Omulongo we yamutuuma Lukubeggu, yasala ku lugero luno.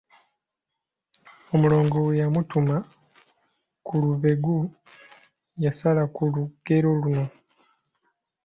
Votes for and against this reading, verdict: 0, 2, rejected